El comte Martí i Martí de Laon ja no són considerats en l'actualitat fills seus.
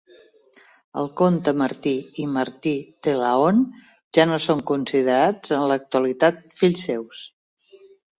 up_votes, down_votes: 2, 0